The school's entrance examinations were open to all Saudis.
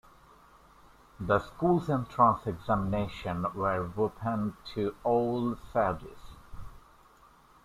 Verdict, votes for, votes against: rejected, 1, 2